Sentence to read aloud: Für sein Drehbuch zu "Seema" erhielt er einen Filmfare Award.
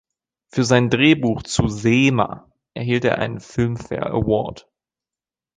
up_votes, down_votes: 2, 0